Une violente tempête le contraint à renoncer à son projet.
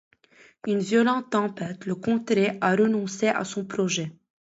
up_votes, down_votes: 0, 2